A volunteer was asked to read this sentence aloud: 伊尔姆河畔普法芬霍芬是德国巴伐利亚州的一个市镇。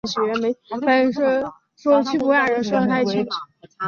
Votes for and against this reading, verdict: 0, 3, rejected